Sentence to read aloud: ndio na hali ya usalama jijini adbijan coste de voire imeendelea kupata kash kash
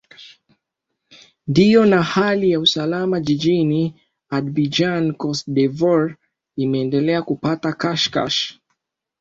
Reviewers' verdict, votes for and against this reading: accepted, 2, 0